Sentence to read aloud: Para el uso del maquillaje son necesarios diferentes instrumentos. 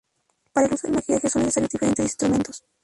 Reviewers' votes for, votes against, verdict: 0, 2, rejected